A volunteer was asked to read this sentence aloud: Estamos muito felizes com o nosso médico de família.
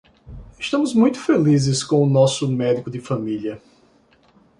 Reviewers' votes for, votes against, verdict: 2, 0, accepted